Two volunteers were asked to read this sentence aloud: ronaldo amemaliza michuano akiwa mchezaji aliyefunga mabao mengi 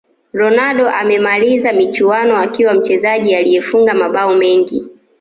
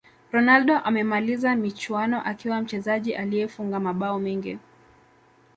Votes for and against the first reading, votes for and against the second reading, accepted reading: 2, 1, 0, 2, first